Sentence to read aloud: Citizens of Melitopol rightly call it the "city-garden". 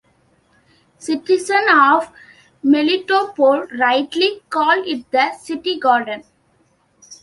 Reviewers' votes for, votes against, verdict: 0, 2, rejected